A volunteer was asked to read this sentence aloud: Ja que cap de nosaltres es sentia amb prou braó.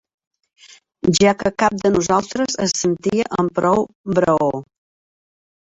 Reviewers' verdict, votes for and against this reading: accepted, 2, 0